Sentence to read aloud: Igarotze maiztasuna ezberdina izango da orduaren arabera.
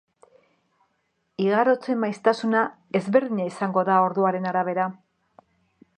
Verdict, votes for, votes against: accepted, 2, 0